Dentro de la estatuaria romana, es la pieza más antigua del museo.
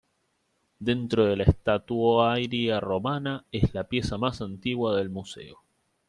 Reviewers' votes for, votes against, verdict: 0, 2, rejected